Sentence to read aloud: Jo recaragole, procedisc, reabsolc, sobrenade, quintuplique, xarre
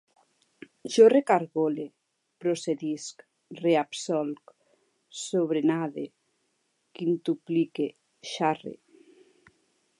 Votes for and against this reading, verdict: 1, 2, rejected